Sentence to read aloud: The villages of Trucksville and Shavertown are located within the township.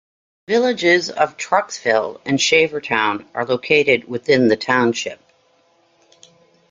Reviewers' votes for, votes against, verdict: 1, 2, rejected